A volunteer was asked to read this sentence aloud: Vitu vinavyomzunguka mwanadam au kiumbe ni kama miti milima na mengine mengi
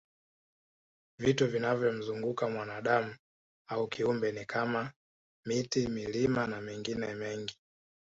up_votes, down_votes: 1, 2